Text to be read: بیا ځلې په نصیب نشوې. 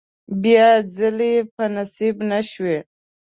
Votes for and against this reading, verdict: 7, 0, accepted